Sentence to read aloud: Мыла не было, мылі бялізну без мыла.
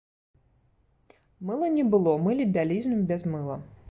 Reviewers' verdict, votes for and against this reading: accepted, 2, 0